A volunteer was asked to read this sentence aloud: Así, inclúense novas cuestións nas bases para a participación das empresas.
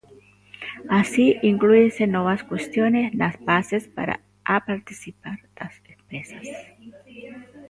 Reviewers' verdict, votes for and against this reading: rejected, 0, 2